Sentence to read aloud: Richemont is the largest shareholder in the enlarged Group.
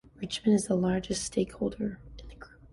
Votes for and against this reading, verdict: 2, 0, accepted